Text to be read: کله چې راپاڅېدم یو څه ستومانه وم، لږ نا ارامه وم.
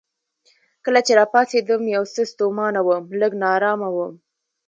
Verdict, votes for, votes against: accepted, 2, 1